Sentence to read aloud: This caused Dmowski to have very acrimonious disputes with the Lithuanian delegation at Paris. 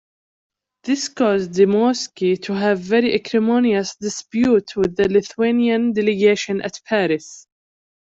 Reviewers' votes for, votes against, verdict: 2, 1, accepted